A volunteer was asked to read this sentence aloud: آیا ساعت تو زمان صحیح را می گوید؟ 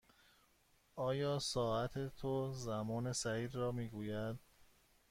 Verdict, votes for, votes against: accepted, 2, 0